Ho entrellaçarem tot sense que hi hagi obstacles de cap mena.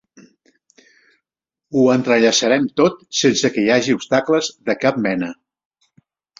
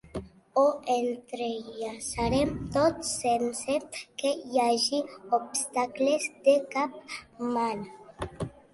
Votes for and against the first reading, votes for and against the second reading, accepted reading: 3, 0, 1, 2, first